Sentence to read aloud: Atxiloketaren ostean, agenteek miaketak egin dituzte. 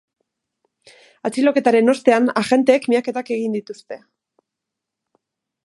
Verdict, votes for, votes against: accepted, 2, 0